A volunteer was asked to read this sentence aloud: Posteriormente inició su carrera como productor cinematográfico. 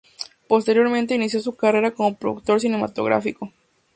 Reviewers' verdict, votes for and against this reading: accepted, 2, 0